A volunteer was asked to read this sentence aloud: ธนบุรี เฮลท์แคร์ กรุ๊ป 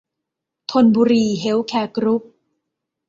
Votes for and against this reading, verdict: 2, 0, accepted